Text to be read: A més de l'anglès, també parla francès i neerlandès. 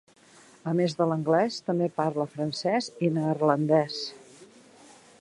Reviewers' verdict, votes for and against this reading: accepted, 2, 0